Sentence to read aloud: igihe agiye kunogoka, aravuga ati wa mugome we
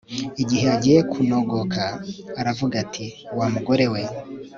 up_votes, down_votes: 2, 3